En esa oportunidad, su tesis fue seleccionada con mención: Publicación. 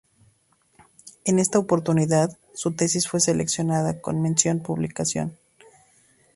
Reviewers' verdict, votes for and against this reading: rejected, 0, 2